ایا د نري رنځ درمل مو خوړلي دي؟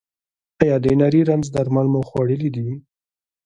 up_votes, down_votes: 2, 1